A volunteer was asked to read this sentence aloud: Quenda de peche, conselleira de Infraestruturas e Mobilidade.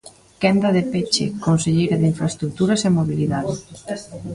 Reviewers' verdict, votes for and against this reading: accepted, 2, 0